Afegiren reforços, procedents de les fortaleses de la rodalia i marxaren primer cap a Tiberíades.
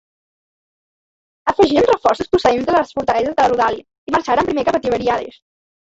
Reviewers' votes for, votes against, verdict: 0, 2, rejected